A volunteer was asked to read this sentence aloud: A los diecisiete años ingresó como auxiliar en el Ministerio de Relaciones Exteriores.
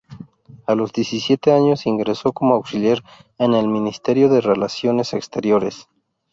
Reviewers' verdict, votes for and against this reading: rejected, 2, 2